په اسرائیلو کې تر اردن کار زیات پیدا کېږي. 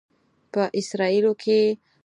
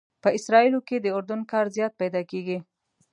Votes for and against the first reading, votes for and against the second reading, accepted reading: 0, 4, 2, 0, second